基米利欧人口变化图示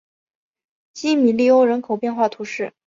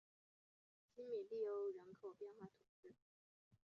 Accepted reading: first